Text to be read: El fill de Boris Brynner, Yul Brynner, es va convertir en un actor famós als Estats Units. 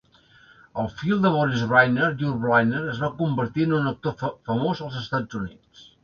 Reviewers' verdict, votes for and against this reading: accepted, 2, 0